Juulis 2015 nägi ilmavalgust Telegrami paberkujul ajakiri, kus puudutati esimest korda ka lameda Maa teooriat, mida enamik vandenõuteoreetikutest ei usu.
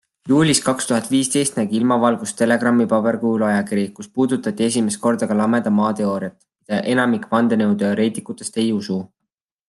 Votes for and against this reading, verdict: 0, 2, rejected